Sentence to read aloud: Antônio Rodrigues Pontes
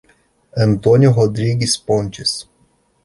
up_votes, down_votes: 2, 0